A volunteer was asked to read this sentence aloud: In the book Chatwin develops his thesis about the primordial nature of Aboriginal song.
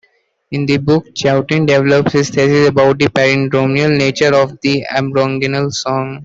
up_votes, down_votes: 0, 2